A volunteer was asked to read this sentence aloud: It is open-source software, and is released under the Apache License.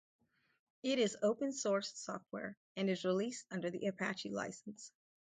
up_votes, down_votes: 2, 0